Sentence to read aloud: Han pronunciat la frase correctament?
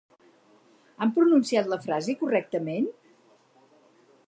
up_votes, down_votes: 4, 0